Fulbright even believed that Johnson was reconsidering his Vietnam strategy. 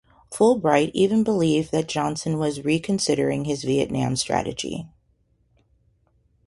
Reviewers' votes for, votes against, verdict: 0, 2, rejected